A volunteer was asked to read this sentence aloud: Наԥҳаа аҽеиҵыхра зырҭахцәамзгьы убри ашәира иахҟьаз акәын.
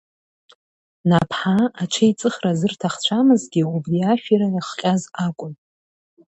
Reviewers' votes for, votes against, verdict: 2, 0, accepted